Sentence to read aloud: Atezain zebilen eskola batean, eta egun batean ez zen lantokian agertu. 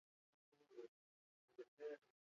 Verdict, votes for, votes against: rejected, 0, 4